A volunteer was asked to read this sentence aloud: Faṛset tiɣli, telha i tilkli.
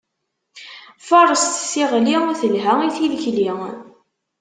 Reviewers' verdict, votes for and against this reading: accepted, 2, 0